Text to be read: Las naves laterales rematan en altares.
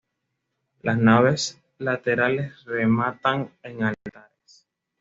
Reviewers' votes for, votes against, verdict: 2, 0, accepted